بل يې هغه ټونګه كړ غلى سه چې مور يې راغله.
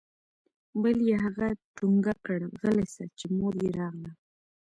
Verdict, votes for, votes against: accepted, 2, 1